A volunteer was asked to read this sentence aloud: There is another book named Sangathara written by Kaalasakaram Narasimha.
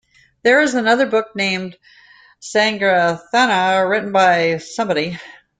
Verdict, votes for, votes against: rejected, 0, 2